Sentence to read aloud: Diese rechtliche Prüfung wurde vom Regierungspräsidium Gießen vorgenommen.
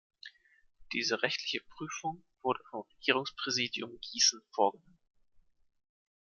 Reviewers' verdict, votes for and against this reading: rejected, 1, 2